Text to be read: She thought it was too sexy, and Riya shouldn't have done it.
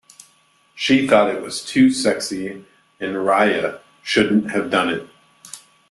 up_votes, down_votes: 2, 0